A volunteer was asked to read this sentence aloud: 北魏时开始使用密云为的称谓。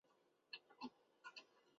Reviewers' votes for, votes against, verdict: 0, 2, rejected